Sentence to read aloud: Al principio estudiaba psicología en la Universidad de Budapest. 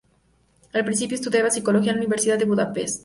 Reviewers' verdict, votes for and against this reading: rejected, 0, 2